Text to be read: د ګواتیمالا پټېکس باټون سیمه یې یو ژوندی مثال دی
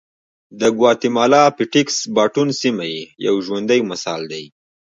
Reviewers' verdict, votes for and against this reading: rejected, 1, 2